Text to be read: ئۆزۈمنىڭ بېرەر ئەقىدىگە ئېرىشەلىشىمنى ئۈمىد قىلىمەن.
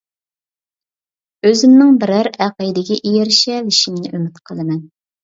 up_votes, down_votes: 2, 0